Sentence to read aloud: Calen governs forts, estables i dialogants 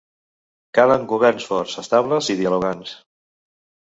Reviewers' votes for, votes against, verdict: 3, 0, accepted